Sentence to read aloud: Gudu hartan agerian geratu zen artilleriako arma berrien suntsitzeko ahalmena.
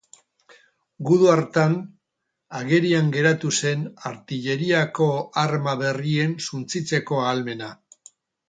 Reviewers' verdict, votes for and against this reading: accepted, 4, 0